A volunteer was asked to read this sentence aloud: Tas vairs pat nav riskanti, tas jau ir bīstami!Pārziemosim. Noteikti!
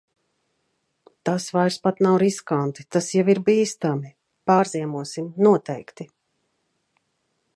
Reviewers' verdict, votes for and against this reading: accepted, 2, 0